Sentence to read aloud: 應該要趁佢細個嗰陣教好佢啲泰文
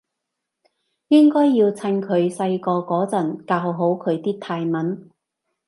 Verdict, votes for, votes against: accepted, 2, 0